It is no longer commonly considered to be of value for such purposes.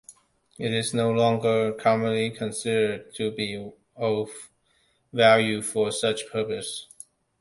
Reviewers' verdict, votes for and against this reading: accepted, 2, 0